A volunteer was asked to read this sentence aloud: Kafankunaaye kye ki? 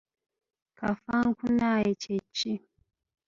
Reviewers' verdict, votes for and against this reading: accepted, 2, 1